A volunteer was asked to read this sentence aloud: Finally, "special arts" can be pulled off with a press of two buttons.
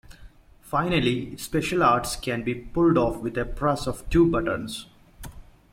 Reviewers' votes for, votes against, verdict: 2, 0, accepted